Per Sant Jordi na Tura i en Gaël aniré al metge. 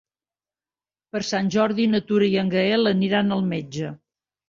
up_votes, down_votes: 1, 2